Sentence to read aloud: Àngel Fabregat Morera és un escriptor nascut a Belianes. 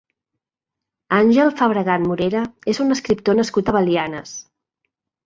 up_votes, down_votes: 2, 1